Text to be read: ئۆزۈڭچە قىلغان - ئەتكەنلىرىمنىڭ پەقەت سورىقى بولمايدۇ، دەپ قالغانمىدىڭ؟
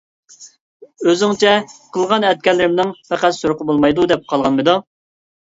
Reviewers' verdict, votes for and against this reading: accepted, 2, 0